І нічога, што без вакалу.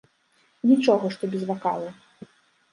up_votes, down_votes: 1, 2